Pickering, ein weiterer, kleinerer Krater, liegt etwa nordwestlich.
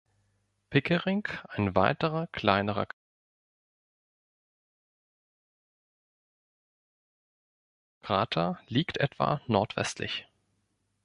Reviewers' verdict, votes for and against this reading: rejected, 0, 2